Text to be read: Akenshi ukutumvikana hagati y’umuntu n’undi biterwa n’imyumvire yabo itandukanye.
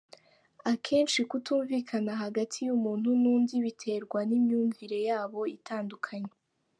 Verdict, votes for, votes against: rejected, 1, 2